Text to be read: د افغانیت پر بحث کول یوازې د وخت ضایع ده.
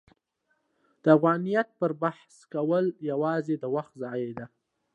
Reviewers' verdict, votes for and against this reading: accepted, 2, 0